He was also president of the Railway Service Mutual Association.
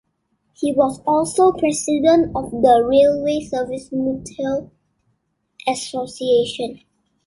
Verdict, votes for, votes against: rejected, 1, 2